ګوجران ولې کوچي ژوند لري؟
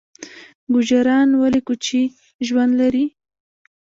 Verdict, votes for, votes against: rejected, 1, 2